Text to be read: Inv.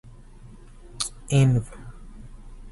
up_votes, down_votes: 2, 2